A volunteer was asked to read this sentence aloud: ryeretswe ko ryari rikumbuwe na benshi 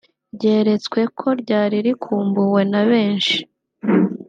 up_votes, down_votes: 2, 0